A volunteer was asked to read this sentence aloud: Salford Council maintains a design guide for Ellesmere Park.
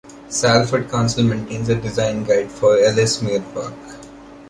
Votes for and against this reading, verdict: 2, 0, accepted